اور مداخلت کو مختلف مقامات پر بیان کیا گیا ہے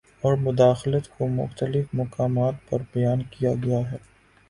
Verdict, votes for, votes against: accepted, 8, 0